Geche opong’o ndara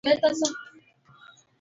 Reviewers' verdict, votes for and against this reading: rejected, 1, 2